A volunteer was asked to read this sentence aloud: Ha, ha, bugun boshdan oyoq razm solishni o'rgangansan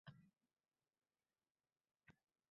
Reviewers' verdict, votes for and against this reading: rejected, 0, 2